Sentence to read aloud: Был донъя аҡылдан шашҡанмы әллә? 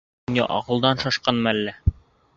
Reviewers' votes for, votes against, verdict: 3, 2, accepted